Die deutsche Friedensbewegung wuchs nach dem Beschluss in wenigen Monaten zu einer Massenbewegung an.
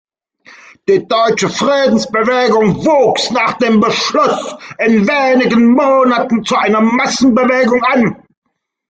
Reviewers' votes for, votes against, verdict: 1, 2, rejected